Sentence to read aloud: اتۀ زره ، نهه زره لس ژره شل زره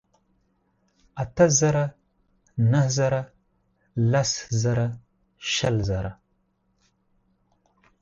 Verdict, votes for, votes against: accepted, 4, 0